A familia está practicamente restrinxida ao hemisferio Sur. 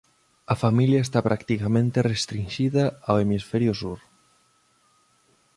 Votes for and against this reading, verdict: 1, 2, rejected